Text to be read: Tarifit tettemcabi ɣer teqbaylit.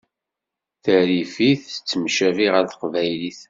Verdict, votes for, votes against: accepted, 2, 0